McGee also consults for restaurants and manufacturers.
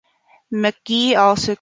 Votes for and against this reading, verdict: 0, 2, rejected